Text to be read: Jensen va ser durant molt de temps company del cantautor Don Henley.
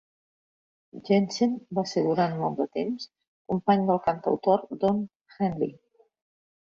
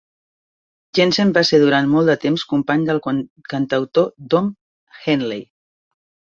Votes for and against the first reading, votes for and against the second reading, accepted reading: 3, 0, 0, 2, first